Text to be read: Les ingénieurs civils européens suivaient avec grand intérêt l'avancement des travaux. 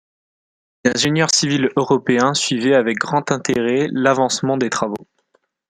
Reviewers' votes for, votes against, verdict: 1, 2, rejected